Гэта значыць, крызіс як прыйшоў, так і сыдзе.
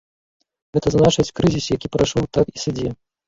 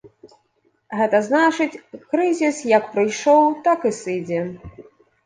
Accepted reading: second